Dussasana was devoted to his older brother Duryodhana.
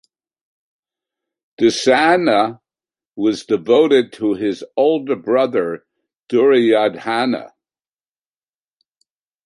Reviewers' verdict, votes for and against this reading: rejected, 0, 2